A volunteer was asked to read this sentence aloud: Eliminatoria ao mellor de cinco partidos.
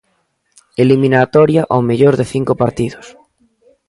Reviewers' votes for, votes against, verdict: 2, 0, accepted